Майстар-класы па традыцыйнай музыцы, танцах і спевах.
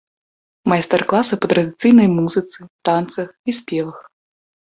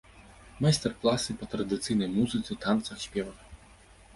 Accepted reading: first